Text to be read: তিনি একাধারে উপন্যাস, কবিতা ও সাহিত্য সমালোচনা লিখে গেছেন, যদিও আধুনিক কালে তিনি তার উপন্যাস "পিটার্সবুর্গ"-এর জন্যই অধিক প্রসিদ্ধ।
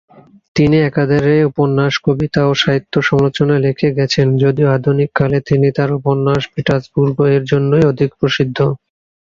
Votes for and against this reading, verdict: 2, 1, accepted